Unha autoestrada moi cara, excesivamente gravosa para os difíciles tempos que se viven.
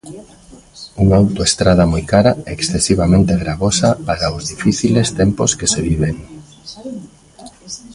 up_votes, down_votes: 2, 1